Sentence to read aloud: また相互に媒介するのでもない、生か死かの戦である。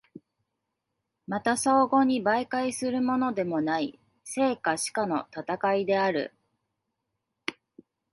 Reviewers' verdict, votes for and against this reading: rejected, 0, 2